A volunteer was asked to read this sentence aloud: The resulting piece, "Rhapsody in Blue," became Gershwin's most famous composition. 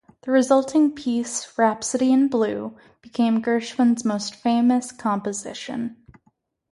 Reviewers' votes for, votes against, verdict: 2, 0, accepted